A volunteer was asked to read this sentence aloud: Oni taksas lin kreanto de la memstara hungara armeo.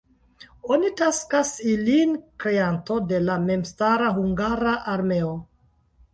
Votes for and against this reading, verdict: 1, 2, rejected